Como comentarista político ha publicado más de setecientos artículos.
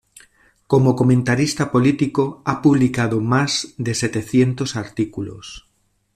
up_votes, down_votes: 2, 0